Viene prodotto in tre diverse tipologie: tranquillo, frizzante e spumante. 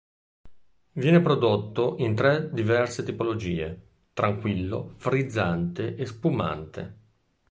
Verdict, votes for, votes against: rejected, 1, 2